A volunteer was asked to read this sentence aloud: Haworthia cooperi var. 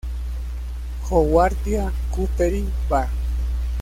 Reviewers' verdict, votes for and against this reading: rejected, 1, 2